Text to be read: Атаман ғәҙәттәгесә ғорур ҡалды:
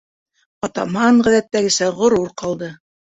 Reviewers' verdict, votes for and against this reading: accepted, 2, 0